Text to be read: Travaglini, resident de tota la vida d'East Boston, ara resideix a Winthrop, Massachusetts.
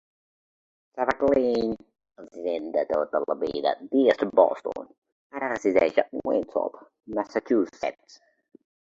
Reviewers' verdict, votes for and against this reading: rejected, 1, 2